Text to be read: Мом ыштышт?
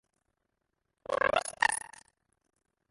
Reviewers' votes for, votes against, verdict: 0, 2, rejected